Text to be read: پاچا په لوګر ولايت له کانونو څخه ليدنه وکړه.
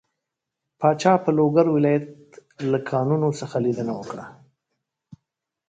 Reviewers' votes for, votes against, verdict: 1, 2, rejected